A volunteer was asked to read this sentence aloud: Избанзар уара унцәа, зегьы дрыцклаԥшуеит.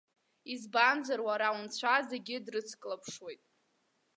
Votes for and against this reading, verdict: 2, 1, accepted